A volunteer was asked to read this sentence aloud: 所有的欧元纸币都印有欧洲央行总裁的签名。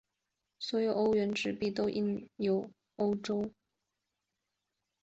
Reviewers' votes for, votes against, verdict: 4, 1, accepted